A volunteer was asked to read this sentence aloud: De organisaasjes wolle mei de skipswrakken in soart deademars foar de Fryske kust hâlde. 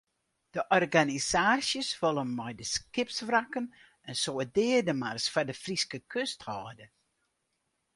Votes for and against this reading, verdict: 4, 0, accepted